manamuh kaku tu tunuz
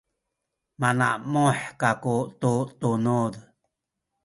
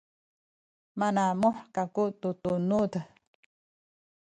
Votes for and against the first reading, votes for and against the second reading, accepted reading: 2, 0, 0, 2, first